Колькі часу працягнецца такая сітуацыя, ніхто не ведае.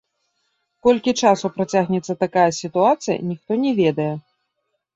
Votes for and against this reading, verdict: 2, 0, accepted